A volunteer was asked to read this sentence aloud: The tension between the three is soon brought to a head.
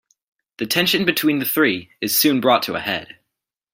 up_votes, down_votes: 2, 1